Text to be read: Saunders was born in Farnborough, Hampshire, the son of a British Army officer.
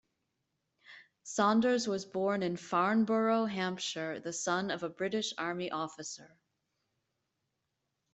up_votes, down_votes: 2, 0